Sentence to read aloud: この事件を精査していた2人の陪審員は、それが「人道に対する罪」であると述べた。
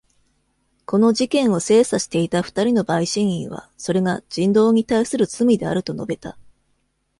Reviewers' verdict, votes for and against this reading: rejected, 0, 2